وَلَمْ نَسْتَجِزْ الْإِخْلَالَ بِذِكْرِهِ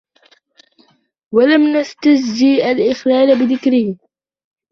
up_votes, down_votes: 1, 3